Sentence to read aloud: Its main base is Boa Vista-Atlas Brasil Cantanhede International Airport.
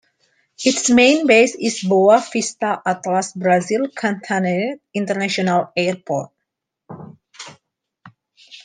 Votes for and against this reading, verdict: 2, 0, accepted